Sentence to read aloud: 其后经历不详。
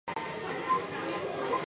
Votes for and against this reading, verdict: 0, 4, rejected